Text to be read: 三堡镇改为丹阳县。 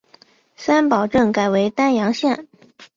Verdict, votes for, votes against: accepted, 2, 0